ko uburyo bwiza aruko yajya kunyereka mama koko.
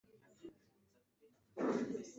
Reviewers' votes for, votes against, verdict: 0, 2, rejected